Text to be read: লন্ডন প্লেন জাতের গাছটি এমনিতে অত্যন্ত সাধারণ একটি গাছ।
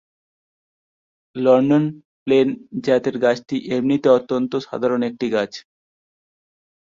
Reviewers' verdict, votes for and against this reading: accepted, 4, 1